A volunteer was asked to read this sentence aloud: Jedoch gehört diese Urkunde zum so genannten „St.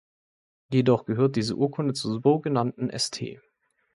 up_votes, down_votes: 2, 0